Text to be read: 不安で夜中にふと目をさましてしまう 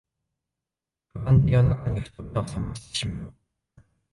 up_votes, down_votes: 0, 2